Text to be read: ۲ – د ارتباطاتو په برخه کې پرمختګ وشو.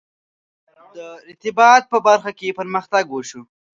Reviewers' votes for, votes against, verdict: 0, 2, rejected